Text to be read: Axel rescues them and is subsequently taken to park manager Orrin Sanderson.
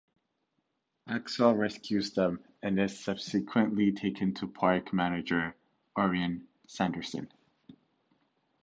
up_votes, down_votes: 2, 0